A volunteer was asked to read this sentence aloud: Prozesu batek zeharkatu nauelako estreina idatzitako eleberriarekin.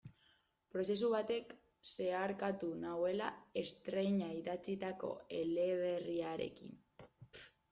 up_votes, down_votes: 0, 2